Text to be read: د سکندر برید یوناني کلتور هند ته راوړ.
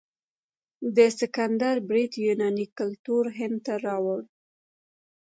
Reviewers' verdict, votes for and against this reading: accepted, 2, 0